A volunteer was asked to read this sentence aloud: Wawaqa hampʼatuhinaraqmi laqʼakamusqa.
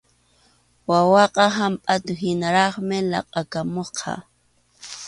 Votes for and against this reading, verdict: 2, 1, accepted